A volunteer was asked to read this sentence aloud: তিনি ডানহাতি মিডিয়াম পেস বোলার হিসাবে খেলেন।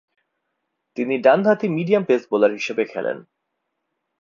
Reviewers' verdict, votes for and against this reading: accepted, 2, 0